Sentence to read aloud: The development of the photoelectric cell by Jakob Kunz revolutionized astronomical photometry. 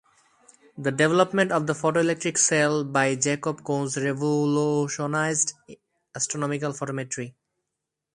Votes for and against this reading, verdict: 0, 2, rejected